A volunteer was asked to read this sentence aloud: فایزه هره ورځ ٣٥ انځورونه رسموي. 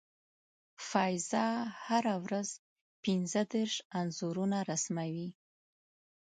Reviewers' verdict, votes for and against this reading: rejected, 0, 2